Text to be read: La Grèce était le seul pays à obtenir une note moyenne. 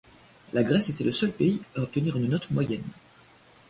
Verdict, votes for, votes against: rejected, 0, 2